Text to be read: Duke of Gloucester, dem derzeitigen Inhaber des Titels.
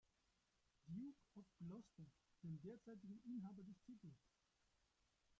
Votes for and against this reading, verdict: 0, 2, rejected